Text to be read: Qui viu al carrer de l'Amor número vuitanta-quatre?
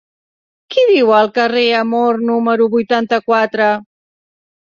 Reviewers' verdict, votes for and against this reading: rejected, 0, 2